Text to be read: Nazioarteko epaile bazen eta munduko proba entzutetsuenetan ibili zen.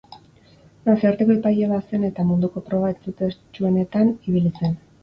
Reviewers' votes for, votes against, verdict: 2, 0, accepted